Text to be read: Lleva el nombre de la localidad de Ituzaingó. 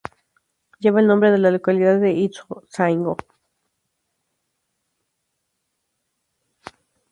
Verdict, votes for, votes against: rejected, 0, 2